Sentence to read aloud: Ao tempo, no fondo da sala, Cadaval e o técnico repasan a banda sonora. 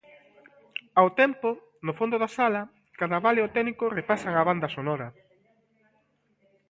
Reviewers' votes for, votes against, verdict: 2, 0, accepted